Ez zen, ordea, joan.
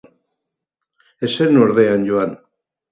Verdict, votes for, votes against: accepted, 6, 0